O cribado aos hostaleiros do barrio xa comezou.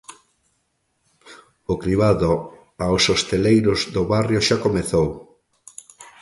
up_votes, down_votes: 0, 2